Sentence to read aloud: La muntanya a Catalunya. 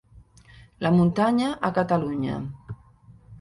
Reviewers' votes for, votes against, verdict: 2, 0, accepted